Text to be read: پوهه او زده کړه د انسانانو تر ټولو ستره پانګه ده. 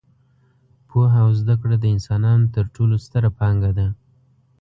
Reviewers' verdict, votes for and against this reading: accepted, 2, 0